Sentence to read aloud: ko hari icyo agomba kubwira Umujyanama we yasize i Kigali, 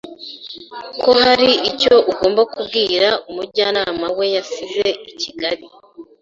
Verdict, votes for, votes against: rejected, 0, 2